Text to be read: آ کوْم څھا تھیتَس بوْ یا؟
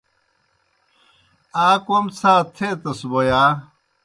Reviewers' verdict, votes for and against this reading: accepted, 2, 0